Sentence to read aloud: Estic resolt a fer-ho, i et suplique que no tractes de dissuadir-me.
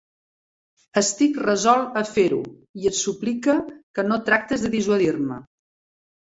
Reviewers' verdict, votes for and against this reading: rejected, 0, 2